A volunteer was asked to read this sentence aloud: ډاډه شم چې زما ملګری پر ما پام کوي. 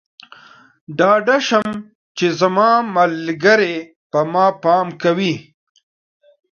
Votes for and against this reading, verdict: 0, 2, rejected